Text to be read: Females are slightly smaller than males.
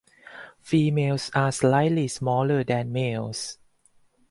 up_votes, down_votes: 4, 0